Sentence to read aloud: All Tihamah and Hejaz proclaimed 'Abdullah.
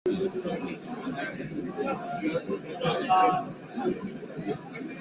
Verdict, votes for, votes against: rejected, 0, 2